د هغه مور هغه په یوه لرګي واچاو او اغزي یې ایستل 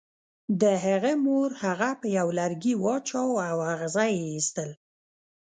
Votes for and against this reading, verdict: 0, 2, rejected